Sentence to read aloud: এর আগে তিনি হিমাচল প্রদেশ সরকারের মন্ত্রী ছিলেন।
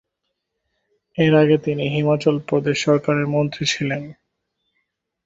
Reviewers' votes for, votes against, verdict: 3, 1, accepted